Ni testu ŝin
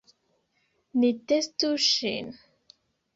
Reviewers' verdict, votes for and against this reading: rejected, 1, 2